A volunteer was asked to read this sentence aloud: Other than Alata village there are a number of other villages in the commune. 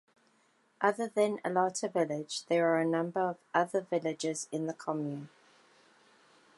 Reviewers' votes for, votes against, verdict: 2, 0, accepted